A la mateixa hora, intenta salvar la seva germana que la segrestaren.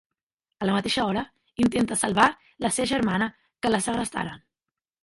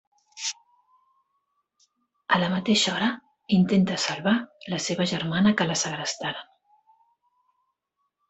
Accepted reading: second